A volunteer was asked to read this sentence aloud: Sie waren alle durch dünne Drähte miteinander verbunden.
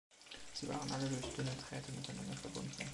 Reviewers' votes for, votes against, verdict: 2, 1, accepted